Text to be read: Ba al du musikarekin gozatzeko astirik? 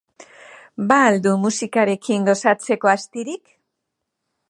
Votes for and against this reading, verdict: 2, 0, accepted